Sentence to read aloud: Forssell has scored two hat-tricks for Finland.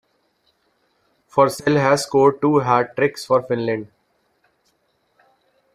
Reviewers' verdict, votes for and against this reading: accepted, 2, 0